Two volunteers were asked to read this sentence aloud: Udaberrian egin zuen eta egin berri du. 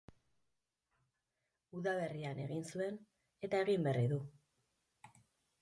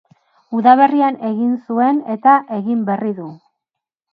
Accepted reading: second